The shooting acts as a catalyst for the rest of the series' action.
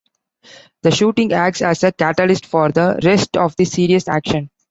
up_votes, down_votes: 2, 0